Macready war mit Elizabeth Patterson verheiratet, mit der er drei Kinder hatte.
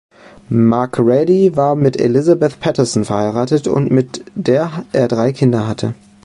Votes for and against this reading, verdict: 1, 2, rejected